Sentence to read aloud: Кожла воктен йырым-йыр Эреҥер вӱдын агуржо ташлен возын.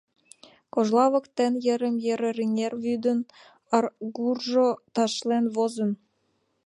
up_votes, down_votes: 0, 2